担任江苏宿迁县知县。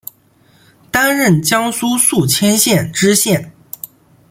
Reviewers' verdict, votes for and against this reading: accepted, 2, 0